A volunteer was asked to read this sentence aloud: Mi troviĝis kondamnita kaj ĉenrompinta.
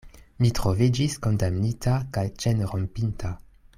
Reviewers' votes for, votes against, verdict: 2, 0, accepted